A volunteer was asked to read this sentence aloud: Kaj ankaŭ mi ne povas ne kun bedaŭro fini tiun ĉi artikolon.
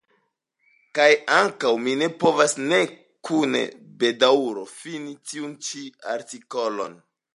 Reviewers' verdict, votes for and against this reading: rejected, 1, 2